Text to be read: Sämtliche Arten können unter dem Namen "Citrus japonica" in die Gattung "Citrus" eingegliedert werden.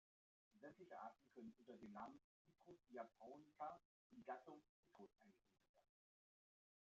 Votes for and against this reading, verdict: 0, 2, rejected